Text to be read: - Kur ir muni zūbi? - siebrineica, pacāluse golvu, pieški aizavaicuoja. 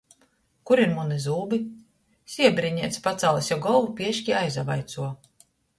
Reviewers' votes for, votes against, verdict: 1, 2, rejected